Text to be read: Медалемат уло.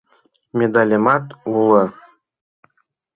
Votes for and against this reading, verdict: 2, 0, accepted